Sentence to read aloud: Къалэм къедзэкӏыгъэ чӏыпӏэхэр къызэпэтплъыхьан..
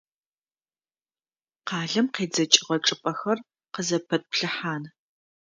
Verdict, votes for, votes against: accepted, 2, 0